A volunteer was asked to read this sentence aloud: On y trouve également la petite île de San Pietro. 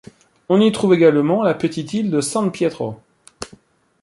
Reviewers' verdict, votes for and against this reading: accepted, 2, 0